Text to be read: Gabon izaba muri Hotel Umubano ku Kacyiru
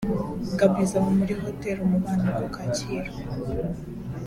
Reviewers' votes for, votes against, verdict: 2, 0, accepted